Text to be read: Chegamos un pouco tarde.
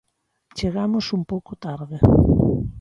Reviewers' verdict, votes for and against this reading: accepted, 2, 1